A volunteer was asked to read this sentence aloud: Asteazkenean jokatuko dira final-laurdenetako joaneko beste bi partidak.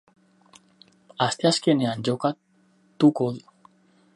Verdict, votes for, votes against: rejected, 0, 2